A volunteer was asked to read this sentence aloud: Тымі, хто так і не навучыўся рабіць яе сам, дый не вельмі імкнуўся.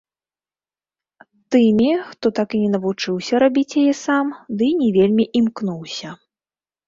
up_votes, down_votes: 0, 2